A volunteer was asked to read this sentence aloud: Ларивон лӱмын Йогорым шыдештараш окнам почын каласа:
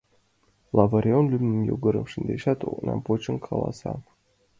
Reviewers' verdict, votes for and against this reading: rejected, 0, 2